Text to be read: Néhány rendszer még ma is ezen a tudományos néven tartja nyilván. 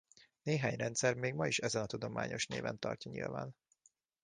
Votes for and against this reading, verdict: 2, 0, accepted